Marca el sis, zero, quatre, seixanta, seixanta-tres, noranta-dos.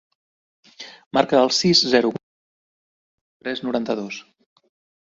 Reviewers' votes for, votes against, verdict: 0, 2, rejected